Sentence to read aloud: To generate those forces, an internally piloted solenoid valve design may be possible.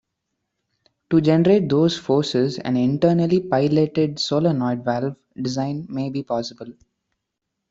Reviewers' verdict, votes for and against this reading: rejected, 0, 2